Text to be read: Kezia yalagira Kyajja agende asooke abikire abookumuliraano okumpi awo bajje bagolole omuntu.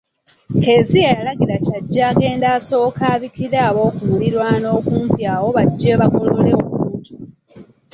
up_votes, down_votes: 2, 1